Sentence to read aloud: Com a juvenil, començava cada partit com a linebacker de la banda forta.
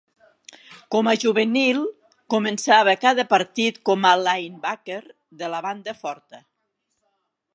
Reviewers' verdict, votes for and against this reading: accepted, 3, 0